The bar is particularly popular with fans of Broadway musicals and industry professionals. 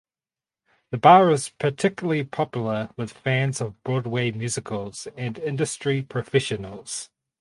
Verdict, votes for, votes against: rejected, 2, 2